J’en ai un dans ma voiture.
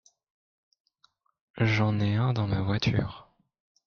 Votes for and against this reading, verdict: 2, 0, accepted